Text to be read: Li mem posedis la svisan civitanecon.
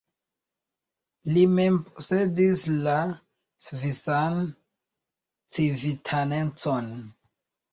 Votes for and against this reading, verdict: 2, 1, accepted